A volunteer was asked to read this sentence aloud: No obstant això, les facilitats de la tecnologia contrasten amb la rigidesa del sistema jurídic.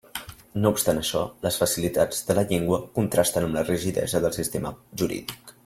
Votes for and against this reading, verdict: 0, 3, rejected